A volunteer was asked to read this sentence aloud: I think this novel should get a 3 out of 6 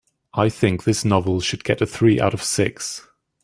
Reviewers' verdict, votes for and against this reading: rejected, 0, 2